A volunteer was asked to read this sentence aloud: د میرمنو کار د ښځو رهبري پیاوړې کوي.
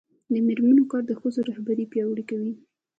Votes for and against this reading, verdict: 2, 1, accepted